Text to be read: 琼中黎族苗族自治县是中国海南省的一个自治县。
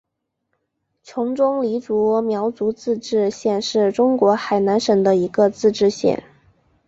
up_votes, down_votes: 2, 1